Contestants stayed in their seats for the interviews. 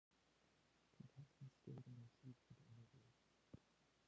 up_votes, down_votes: 0, 2